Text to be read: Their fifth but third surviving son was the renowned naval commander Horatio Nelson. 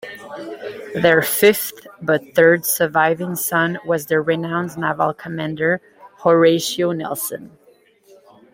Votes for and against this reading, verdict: 2, 0, accepted